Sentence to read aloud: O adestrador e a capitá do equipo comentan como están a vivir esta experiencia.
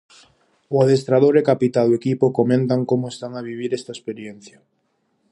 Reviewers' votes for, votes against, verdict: 2, 2, rejected